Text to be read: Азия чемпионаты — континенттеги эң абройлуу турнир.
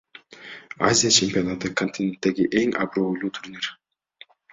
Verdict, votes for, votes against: accepted, 2, 1